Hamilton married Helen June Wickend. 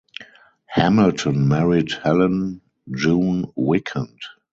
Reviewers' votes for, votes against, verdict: 2, 2, rejected